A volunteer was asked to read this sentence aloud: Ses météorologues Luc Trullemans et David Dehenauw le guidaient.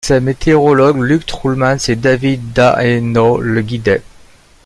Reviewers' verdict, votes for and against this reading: rejected, 1, 2